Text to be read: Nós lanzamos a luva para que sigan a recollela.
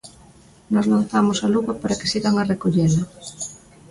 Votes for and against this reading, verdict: 0, 2, rejected